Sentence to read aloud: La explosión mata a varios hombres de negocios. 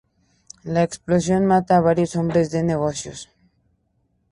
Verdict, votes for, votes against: rejected, 2, 2